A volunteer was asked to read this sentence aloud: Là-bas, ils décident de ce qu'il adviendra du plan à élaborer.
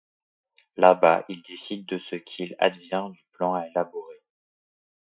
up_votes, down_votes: 2, 1